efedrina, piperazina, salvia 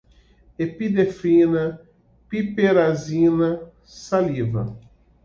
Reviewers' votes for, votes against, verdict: 1, 2, rejected